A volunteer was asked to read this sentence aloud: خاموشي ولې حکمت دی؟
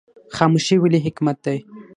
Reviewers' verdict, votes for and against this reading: accepted, 6, 3